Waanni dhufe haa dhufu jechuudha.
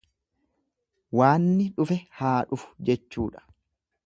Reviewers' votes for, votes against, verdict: 2, 0, accepted